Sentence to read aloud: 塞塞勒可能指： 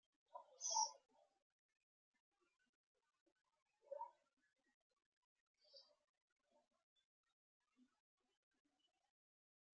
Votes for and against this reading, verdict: 0, 2, rejected